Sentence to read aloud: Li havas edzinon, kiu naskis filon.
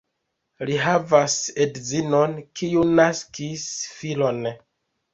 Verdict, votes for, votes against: accepted, 2, 1